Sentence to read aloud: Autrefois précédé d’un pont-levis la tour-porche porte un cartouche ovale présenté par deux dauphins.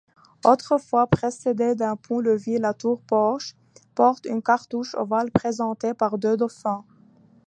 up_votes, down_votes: 2, 1